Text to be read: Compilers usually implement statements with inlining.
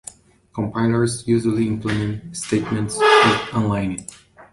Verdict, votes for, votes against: rejected, 0, 2